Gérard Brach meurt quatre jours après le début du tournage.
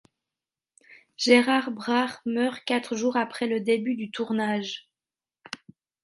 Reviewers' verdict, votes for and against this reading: accepted, 2, 1